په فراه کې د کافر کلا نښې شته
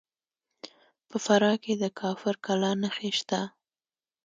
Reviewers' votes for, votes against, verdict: 1, 2, rejected